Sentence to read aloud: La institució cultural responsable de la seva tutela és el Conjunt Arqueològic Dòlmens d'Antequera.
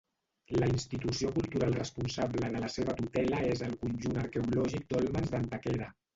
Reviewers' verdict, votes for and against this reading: rejected, 0, 2